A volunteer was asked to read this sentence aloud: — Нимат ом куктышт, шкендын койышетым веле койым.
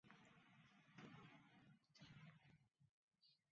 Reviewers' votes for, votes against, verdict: 0, 2, rejected